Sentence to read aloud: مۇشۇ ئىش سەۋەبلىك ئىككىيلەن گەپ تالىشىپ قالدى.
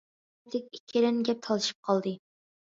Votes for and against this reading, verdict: 0, 2, rejected